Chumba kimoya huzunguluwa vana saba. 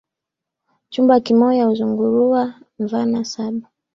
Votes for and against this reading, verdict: 1, 2, rejected